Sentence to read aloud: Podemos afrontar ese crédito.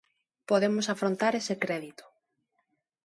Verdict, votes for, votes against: accepted, 2, 0